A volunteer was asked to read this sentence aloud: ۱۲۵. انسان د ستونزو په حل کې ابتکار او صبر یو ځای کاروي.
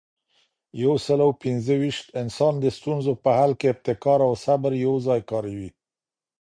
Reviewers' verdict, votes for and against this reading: rejected, 0, 2